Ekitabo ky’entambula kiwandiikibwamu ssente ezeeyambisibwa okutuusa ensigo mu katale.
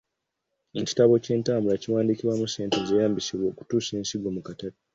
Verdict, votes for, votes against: rejected, 1, 2